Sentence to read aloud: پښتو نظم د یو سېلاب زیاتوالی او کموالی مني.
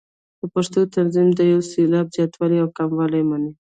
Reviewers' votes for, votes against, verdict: 1, 2, rejected